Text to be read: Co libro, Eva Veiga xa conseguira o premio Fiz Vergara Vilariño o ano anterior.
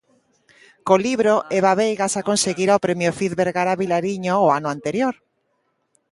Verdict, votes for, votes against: accepted, 2, 1